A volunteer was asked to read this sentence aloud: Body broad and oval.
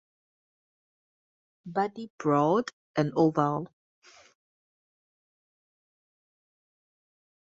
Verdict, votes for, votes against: accepted, 4, 0